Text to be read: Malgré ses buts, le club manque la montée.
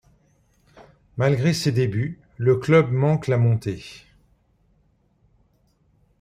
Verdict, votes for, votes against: rejected, 0, 2